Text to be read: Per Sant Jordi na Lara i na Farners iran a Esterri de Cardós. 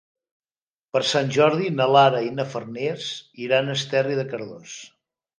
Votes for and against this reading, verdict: 4, 0, accepted